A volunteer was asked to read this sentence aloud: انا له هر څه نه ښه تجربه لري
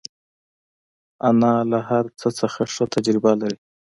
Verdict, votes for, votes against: accepted, 2, 0